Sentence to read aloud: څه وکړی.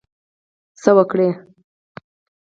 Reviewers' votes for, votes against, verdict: 4, 0, accepted